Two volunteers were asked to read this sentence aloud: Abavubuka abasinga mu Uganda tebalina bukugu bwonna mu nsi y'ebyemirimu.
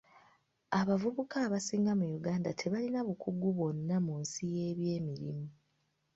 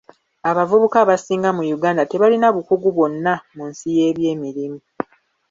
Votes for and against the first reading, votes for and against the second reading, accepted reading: 3, 1, 0, 2, first